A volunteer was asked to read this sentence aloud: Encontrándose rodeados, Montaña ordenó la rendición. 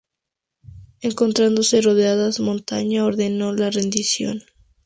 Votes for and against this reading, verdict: 2, 0, accepted